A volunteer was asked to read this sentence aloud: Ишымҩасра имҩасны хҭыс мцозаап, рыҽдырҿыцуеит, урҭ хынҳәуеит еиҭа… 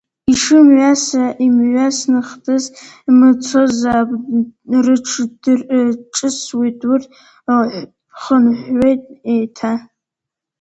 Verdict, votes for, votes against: rejected, 0, 2